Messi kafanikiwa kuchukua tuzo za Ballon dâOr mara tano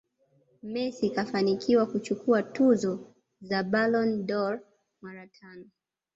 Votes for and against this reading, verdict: 2, 0, accepted